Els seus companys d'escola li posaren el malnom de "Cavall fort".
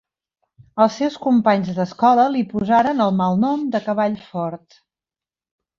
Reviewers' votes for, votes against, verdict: 2, 0, accepted